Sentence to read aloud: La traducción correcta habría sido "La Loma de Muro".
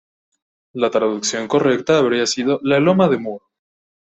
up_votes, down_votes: 0, 2